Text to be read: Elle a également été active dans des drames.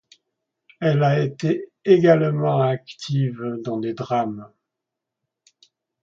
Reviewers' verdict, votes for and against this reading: rejected, 0, 2